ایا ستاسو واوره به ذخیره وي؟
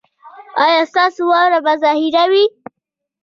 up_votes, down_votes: 1, 2